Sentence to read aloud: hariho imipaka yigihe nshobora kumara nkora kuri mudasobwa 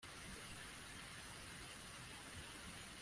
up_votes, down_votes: 1, 2